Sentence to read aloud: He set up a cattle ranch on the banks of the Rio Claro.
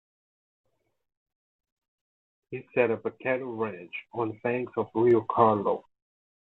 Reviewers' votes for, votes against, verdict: 0, 2, rejected